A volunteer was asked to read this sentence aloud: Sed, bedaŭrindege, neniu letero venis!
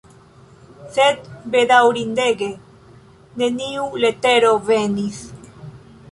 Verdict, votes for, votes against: accepted, 2, 0